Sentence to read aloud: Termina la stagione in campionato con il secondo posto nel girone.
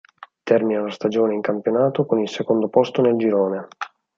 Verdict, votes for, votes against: accepted, 4, 0